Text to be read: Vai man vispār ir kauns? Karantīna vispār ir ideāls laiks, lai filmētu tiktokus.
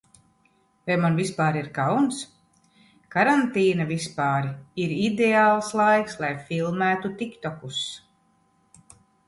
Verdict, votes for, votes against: accepted, 2, 0